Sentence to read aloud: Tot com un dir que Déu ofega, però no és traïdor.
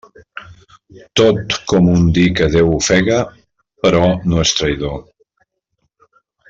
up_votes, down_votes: 2, 0